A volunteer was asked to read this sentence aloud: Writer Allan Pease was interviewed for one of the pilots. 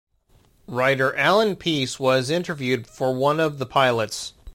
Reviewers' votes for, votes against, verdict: 2, 0, accepted